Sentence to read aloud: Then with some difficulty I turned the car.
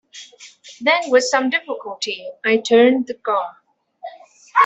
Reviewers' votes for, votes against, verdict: 1, 2, rejected